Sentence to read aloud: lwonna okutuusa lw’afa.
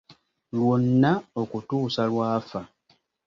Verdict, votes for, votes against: accepted, 2, 0